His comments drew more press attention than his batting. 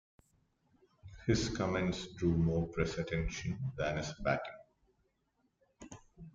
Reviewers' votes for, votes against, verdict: 1, 2, rejected